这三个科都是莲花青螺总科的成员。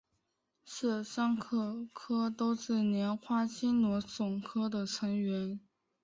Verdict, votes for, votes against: rejected, 0, 2